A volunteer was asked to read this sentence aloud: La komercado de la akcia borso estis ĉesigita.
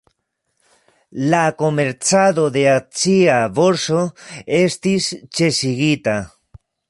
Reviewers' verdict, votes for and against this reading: rejected, 2, 3